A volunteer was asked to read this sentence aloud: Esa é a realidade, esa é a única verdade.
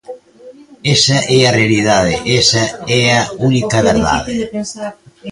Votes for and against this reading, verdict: 0, 2, rejected